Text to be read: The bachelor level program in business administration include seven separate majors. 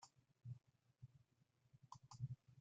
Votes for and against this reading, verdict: 0, 3, rejected